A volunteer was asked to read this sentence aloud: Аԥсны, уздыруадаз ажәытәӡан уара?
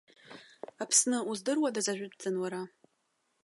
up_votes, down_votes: 2, 0